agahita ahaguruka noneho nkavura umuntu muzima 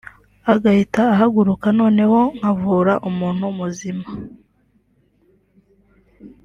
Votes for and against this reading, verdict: 2, 1, accepted